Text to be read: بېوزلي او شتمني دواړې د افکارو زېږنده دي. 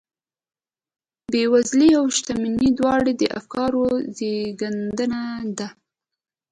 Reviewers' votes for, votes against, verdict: 2, 0, accepted